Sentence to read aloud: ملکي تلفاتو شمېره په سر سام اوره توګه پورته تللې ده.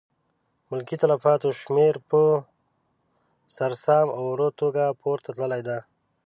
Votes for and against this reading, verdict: 1, 2, rejected